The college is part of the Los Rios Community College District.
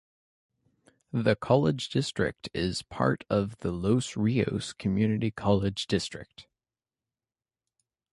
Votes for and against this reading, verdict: 1, 2, rejected